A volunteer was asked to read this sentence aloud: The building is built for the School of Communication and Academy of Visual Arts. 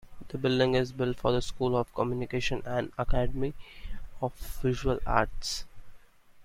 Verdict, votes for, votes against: accepted, 2, 0